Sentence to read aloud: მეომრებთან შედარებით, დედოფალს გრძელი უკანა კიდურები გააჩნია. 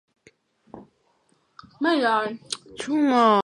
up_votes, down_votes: 1, 2